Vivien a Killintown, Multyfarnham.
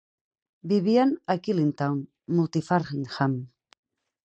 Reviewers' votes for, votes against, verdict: 2, 4, rejected